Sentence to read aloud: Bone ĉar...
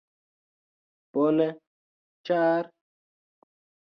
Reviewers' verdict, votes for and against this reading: rejected, 0, 2